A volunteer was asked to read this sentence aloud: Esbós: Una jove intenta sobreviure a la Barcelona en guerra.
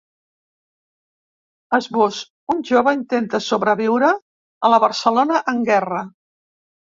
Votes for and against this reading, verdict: 0, 2, rejected